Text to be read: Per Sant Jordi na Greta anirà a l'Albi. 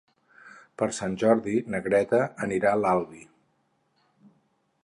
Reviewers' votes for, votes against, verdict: 6, 0, accepted